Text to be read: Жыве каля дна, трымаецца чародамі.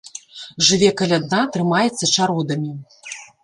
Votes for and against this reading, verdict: 1, 2, rejected